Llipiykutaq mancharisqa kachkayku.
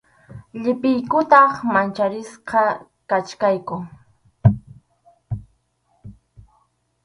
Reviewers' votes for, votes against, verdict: 4, 0, accepted